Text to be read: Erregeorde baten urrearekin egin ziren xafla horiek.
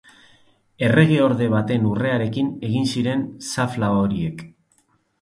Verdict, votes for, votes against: accepted, 2, 0